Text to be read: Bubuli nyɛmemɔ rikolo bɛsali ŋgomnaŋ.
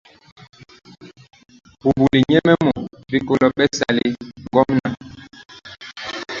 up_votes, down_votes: 0, 2